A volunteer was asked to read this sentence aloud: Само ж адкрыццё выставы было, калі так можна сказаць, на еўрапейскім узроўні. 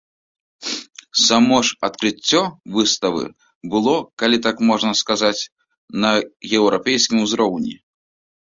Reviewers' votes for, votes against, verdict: 1, 2, rejected